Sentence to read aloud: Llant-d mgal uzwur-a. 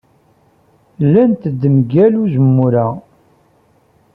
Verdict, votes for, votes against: rejected, 0, 2